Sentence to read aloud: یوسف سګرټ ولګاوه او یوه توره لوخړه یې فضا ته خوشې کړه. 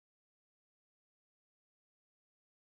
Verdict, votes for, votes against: rejected, 0, 2